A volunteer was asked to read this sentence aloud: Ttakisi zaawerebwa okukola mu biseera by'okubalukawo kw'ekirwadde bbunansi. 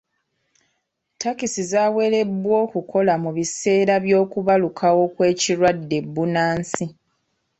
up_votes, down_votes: 2, 1